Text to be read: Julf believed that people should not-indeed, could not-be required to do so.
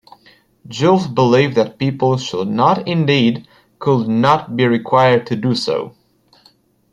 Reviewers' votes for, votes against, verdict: 2, 1, accepted